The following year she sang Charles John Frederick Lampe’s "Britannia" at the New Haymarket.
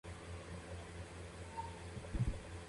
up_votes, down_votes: 0, 2